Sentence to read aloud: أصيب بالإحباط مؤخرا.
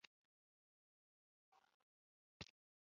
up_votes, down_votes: 0, 2